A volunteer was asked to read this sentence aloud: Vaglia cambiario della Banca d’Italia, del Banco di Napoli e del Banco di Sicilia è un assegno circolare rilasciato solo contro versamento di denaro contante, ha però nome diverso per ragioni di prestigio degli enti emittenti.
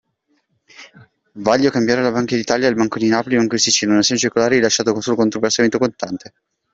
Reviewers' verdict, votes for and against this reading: rejected, 0, 2